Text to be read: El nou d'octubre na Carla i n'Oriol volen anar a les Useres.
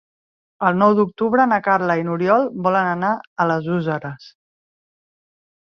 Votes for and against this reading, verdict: 0, 2, rejected